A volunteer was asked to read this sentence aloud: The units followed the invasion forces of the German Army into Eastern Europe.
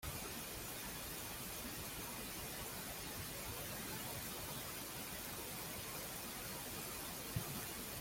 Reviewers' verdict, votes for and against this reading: rejected, 0, 2